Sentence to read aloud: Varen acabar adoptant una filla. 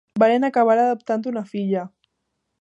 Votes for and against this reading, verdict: 2, 0, accepted